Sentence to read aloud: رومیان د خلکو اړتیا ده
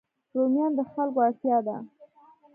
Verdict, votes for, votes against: rejected, 1, 2